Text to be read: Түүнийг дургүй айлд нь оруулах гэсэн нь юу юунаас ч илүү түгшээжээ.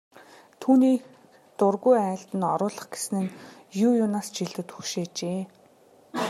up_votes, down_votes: 0, 2